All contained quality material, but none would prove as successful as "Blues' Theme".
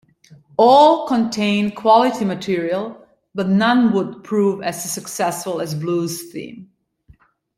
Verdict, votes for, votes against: accepted, 2, 0